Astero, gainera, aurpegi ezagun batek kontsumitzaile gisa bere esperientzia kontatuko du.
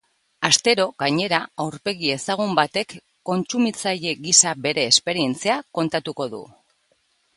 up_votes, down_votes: 2, 0